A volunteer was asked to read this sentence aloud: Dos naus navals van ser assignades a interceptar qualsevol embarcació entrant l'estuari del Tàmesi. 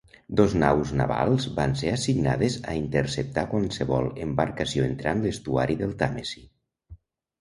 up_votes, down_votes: 1, 2